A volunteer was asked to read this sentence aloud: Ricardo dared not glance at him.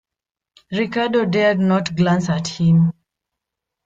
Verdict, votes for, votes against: accepted, 2, 0